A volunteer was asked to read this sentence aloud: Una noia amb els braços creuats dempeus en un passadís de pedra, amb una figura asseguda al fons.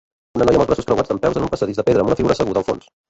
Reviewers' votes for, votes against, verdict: 0, 2, rejected